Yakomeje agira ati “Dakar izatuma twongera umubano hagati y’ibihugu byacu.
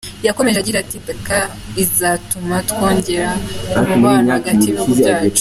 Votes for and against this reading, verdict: 2, 1, accepted